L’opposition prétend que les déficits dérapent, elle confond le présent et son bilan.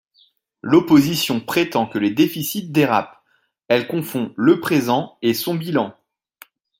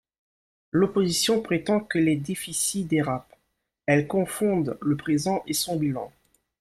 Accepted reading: first